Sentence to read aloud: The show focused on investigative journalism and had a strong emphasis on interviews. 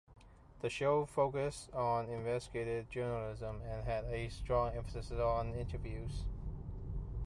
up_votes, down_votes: 1, 2